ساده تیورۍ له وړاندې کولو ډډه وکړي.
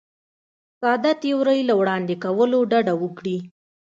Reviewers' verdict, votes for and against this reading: accepted, 2, 0